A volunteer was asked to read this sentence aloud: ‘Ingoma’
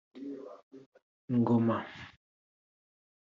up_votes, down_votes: 0, 2